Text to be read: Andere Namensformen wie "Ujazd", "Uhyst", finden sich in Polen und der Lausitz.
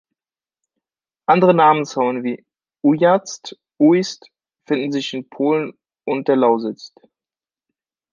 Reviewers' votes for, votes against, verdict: 2, 0, accepted